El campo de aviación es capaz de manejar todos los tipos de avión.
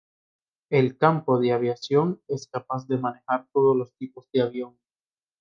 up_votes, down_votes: 2, 0